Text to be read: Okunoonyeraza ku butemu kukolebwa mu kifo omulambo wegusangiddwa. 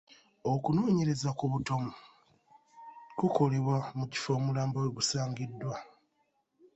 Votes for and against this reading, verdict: 1, 2, rejected